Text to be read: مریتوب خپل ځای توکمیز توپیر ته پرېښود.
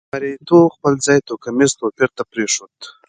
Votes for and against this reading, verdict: 2, 0, accepted